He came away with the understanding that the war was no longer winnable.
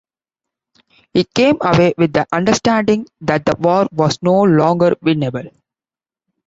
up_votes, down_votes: 2, 0